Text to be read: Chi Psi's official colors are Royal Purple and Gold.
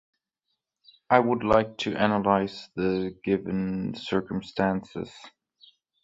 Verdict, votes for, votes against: rejected, 0, 2